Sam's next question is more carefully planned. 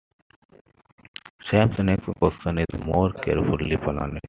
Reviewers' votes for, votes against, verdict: 2, 1, accepted